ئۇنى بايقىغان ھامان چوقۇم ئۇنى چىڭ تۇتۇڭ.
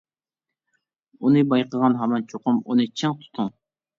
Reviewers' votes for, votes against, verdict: 2, 0, accepted